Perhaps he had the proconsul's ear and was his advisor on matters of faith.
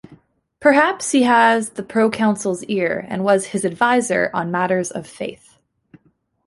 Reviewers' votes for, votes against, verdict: 2, 1, accepted